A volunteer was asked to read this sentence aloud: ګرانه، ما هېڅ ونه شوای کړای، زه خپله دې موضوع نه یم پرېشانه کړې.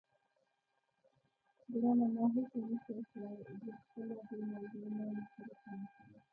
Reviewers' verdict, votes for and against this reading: rejected, 1, 2